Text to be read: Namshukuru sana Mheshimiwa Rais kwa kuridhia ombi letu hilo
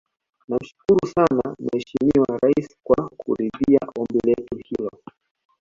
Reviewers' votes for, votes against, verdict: 2, 0, accepted